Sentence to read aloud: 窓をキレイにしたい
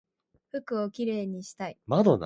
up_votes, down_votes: 1, 2